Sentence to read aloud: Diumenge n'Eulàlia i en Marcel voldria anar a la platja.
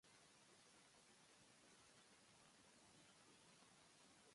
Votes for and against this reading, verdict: 1, 2, rejected